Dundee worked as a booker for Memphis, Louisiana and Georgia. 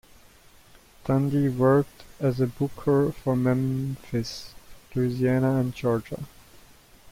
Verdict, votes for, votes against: rejected, 1, 2